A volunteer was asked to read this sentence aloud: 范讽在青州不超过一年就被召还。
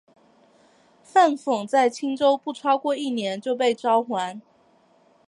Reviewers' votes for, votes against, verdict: 2, 0, accepted